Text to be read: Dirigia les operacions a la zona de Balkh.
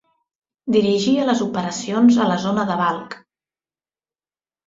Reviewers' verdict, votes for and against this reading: accepted, 2, 0